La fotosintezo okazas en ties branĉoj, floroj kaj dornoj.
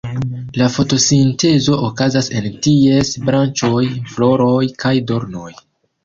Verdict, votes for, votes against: accepted, 3, 0